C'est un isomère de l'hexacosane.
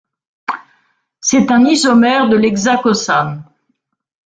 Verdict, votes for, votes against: accepted, 2, 1